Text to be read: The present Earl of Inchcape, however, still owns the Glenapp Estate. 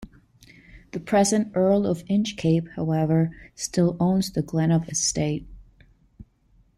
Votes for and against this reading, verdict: 12, 0, accepted